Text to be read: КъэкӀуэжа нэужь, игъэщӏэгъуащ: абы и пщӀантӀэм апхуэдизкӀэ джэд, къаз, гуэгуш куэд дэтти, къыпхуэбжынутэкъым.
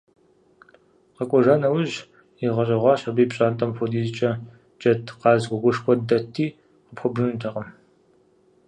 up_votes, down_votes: 0, 2